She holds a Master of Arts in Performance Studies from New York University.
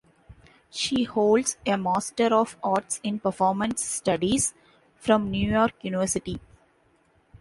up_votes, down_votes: 2, 0